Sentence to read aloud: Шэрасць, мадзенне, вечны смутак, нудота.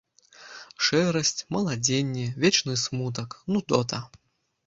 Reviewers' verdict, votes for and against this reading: rejected, 0, 2